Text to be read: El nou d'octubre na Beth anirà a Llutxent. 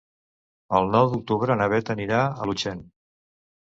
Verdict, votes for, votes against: rejected, 1, 2